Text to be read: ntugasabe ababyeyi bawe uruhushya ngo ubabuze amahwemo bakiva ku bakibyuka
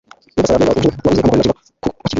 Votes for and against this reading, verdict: 0, 2, rejected